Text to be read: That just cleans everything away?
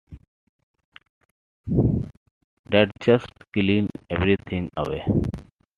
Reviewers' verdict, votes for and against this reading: accepted, 2, 1